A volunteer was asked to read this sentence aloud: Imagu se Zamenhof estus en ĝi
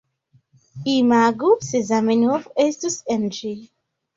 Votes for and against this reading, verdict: 1, 2, rejected